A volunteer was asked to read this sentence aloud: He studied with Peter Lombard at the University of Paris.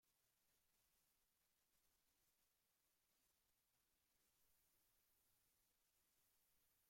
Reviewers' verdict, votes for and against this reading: rejected, 0, 2